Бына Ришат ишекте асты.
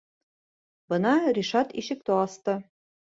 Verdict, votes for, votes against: accepted, 2, 0